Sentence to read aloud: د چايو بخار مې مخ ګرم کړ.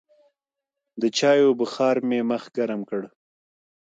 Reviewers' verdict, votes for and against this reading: accepted, 2, 0